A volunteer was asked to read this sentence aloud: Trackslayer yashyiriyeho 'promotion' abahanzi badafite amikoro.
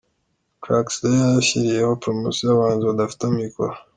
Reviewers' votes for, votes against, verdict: 2, 0, accepted